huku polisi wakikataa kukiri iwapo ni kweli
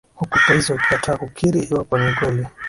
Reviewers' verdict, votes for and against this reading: accepted, 3, 1